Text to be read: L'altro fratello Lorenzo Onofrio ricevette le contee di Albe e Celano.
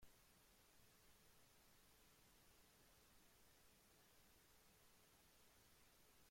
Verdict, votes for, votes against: rejected, 0, 2